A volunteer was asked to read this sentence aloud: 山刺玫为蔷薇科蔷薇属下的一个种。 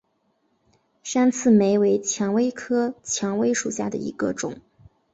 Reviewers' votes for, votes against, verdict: 2, 1, accepted